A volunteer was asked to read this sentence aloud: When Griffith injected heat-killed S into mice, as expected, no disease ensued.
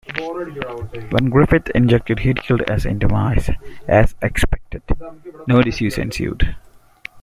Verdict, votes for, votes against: rejected, 0, 2